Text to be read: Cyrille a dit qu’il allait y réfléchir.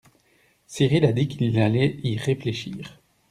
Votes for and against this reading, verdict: 1, 2, rejected